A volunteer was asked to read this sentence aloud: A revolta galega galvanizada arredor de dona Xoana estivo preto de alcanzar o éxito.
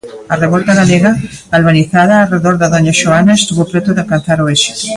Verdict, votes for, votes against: rejected, 0, 2